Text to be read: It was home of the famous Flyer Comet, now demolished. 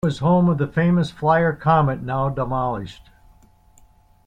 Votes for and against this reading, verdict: 2, 1, accepted